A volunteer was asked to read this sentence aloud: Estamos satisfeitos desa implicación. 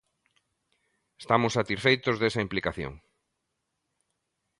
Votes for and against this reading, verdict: 2, 0, accepted